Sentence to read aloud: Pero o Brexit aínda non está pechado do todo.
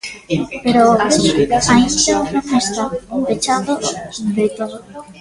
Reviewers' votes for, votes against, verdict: 0, 2, rejected